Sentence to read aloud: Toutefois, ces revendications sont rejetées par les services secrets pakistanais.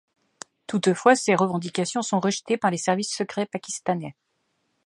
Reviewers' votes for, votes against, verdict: 2, 0, accepted